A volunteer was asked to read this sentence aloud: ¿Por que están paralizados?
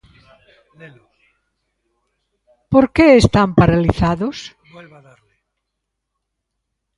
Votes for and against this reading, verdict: 1, 2, rejected